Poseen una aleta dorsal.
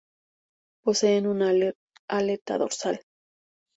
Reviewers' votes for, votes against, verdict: 0, 2, rejected